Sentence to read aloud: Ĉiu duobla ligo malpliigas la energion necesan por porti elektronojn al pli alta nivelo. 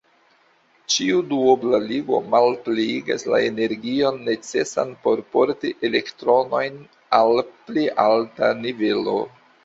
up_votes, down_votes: 2, 1